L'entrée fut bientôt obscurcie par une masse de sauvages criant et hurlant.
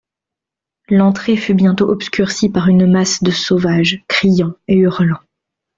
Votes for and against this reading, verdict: 2, 0, accepted